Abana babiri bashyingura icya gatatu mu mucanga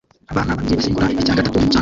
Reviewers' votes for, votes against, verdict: 0, 2, rejected